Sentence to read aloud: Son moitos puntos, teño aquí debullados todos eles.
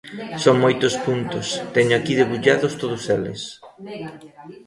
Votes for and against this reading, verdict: 2, 1, accepted